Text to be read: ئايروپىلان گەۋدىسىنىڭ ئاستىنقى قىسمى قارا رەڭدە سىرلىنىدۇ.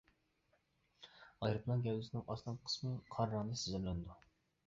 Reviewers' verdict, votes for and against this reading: rejected, 1, 2